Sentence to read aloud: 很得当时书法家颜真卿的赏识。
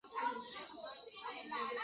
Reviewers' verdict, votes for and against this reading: rejected, 1, 2